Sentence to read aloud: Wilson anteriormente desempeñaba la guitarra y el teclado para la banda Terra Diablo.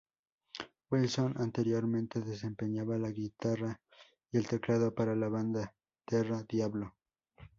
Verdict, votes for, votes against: accepted, 2, 0